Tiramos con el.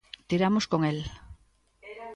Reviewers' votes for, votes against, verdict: 2, 0, accepted